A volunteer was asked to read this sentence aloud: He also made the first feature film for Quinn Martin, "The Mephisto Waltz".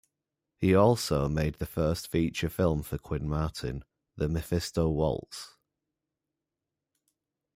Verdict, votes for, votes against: accepted, 2, 0